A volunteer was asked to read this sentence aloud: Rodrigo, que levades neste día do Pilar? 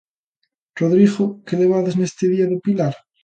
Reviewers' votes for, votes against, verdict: 2, 0, accepted